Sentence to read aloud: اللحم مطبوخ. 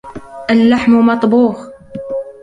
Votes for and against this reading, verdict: 1, 2, rejected